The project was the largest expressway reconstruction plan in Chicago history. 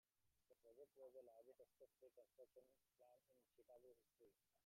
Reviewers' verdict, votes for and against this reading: rejected, 0, 2